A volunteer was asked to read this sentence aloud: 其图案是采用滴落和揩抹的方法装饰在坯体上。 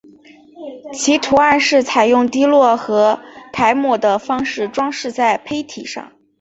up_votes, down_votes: 2, 1